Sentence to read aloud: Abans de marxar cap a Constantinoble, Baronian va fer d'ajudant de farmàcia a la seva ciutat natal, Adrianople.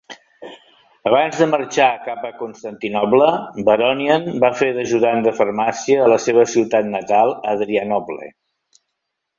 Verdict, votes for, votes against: accepted, 2, 0